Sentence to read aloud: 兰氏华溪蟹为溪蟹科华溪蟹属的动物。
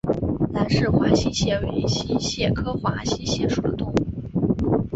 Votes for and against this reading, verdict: 3, 1, accepted